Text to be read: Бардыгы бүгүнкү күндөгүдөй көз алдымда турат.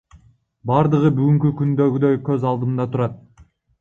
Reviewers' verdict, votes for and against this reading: rejected, 1, 2